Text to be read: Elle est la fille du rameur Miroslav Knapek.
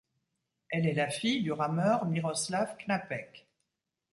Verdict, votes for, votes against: accepted, 2, 0